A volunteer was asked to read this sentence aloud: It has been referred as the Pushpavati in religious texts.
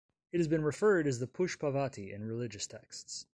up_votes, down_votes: 2, 0